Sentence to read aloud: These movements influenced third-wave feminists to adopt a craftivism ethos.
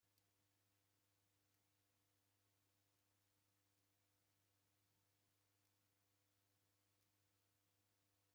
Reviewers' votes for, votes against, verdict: 0, 2, rejected